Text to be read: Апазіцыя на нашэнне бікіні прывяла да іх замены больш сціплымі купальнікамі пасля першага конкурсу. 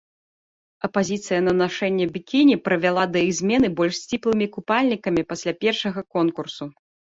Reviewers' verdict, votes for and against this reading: rejected, 0, 2